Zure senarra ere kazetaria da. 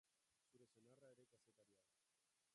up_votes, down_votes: 0, 4